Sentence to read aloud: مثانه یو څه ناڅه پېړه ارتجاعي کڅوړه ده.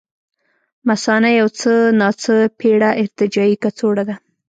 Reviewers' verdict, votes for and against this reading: accepted, 2, 0